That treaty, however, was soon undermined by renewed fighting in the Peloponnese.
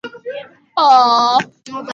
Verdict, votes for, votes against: rejected, 0, 2